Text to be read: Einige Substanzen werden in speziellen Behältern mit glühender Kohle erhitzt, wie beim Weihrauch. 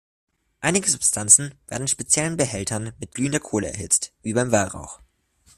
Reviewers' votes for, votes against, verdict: 0, 2, rejected